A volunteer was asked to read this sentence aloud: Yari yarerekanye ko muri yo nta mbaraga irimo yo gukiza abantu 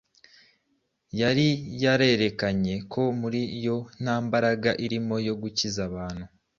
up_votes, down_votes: 2, 0